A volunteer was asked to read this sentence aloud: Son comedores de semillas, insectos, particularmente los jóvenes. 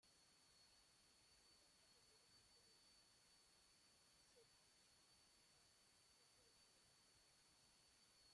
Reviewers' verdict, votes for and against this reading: rejected, 0, 2